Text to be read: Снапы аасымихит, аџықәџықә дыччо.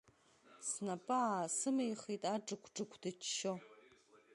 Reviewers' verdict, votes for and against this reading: rejected, 1, 2